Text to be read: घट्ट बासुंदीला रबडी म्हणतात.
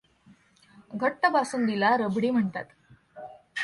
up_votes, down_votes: 2, 1